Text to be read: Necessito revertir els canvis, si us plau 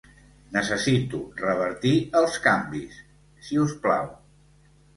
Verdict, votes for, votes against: accepted, 2, 0